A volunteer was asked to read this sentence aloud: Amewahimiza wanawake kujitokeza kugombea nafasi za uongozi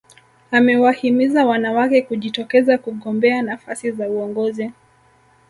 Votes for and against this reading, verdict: 2, 0, accepted